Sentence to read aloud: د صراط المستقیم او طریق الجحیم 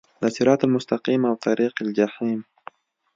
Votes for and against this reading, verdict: 2, 0, accepted